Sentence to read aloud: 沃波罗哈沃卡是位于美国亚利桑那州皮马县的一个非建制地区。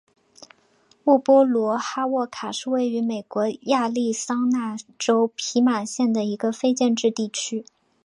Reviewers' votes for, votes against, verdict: 2, 0, accepted